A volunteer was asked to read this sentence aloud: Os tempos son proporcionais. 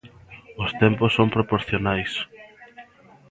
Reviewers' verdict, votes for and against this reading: rejected, 1, 2